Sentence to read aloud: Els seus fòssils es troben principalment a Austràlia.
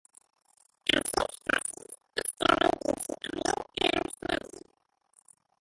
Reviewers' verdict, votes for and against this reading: rejected, 1, 2